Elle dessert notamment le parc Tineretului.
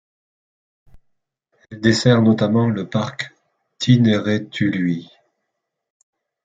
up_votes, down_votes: 1, 2